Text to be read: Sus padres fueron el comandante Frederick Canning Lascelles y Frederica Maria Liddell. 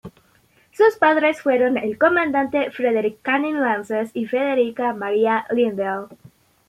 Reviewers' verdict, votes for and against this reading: rejected, 1, 2